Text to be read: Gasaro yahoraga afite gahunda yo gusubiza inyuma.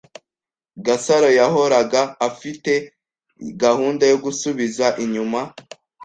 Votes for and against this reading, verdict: 2, 0, accepted